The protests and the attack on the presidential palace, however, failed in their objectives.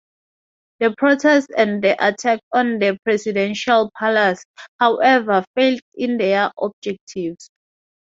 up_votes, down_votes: 4, 0